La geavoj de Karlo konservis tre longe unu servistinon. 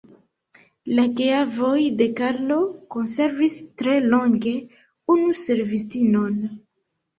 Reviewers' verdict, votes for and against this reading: accepted, 2, 0